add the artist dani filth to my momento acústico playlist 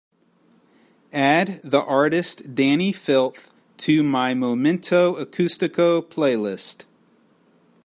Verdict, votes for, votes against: accepted, 3, 0